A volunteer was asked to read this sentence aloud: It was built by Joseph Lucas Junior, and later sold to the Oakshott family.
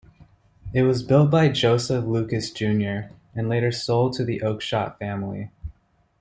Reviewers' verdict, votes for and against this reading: accepted, 2, 0